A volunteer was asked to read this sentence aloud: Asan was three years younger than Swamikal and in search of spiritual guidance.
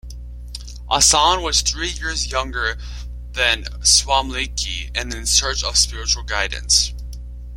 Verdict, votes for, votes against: rejected, 0, 2